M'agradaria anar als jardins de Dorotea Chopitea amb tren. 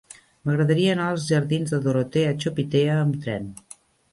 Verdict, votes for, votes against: accepted, 3, 0